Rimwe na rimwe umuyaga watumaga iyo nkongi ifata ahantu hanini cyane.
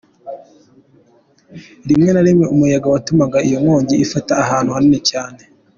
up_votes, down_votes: 2, 0